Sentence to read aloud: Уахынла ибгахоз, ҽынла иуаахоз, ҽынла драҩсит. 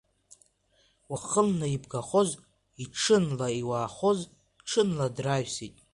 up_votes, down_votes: 2, 0